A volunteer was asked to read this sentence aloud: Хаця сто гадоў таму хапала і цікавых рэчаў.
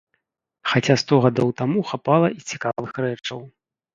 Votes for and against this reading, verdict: 2, 0, accepted